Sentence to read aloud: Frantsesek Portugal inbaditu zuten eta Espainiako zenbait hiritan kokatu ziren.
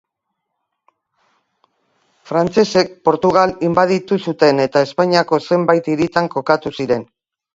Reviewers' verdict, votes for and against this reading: accepted, 2, 0